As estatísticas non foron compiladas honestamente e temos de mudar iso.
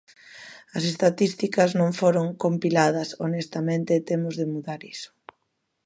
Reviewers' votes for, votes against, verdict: 2, 0, accepted